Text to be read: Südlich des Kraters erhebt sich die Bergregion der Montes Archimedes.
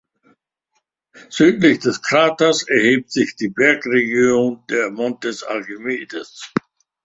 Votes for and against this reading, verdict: 2, 1, accepted